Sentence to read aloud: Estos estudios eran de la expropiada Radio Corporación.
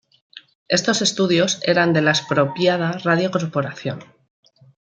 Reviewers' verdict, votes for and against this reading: accepted, 2, 0